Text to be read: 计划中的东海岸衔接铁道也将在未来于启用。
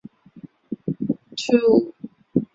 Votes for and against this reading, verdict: 0, 2, rejected